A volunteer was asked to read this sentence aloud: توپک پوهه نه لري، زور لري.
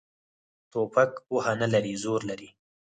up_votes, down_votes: 4, 2